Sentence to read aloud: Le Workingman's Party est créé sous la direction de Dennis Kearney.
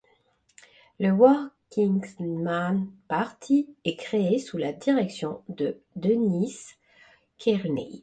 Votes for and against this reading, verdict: 1, 2, rejected